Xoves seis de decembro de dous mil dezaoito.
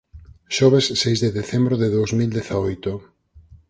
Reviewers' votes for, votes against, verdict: 6, 0, accepted